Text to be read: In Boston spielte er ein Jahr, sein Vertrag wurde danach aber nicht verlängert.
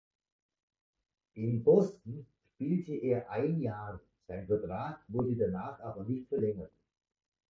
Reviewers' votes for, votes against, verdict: 2, 0, accepted